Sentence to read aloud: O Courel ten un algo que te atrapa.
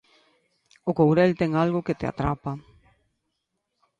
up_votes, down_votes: 0, 2